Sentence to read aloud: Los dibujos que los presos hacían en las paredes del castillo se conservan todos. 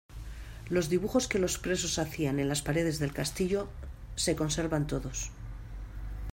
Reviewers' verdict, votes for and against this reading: accepted, 2, 0